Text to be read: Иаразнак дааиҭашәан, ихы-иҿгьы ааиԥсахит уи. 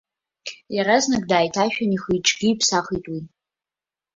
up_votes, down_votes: 2, 0